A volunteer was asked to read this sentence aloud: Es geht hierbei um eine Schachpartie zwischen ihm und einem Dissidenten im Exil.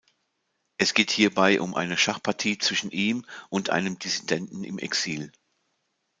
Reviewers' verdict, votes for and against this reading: accepted, 2, 0